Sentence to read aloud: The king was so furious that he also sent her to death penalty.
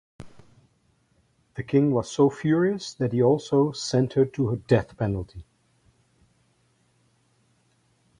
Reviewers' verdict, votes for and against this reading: accepted, 4, 2